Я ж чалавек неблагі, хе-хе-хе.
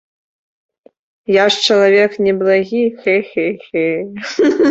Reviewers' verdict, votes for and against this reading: rejected, 1, 2